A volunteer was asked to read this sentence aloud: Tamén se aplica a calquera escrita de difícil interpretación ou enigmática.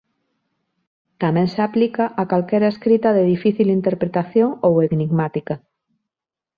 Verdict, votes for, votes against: accepted, 2, 0